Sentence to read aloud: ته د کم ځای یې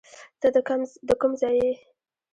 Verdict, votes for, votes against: accepted, 2, 0